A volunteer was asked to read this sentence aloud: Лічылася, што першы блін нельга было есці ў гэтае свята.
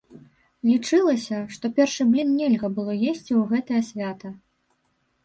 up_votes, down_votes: 2, 0